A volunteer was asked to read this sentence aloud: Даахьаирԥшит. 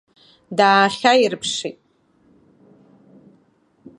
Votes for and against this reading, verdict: 2, 1, accepted